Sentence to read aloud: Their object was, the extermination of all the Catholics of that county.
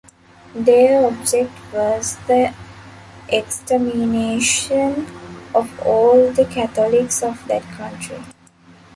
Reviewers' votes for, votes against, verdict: 0, 2, rejected